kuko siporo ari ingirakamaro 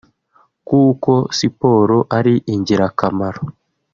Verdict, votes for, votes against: rejected, 1, 2